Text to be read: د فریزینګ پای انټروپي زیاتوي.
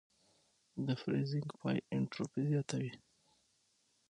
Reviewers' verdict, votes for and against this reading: accepted, 6, 0